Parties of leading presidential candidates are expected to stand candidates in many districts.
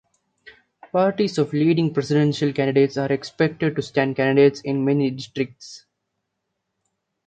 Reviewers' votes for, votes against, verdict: 2, 0, accepted